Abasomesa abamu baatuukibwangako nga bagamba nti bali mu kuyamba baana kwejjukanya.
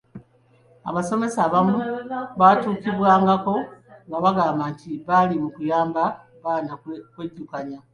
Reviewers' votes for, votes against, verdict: 2, 0, accepted